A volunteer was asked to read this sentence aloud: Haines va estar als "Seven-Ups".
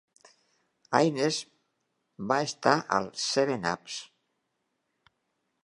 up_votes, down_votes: 2, 0